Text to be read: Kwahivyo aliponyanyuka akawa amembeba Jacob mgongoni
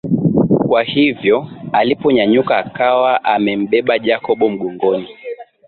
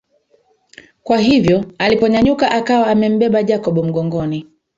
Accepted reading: first